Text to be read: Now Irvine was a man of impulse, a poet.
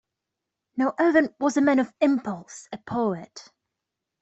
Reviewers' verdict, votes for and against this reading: accepted, 2, 0